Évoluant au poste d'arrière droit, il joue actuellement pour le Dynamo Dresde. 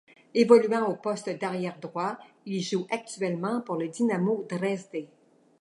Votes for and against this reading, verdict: 2, 0, accepted